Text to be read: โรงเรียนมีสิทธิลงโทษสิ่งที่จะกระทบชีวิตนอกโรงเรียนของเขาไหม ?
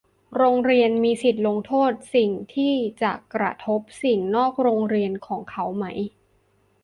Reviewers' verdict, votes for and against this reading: rejected, 0, 2